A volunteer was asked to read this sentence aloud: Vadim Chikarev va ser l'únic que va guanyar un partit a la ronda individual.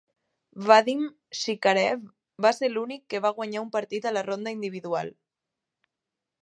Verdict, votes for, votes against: accepted, 3, 0